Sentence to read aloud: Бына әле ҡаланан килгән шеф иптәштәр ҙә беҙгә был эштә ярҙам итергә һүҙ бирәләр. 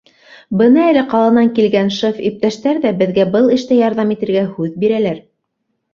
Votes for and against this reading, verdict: 2, 0, accepted